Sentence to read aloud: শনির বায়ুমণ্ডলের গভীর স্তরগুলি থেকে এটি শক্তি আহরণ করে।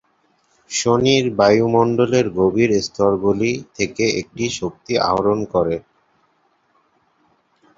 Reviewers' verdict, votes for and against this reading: rejected, 1, 2